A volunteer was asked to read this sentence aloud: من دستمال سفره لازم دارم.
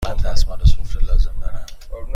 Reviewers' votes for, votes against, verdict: 2, 0, accepted